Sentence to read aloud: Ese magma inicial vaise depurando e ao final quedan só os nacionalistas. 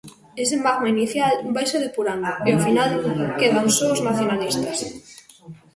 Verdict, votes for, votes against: accepted, 2, 0